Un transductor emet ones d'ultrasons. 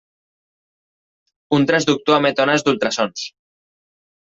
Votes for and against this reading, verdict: 2, 0, accepted